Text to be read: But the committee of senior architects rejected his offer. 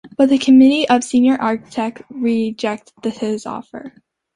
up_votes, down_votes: 0, 2